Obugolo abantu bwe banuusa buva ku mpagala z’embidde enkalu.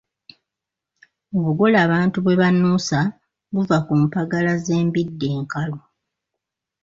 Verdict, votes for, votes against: rejected, 1, 2